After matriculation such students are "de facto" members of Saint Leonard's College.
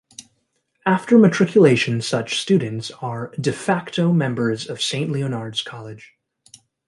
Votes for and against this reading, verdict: 1, 2, rejected